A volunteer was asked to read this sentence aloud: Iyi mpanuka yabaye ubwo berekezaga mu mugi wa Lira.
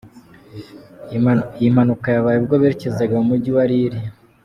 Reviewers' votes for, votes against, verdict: 1, 2, rejected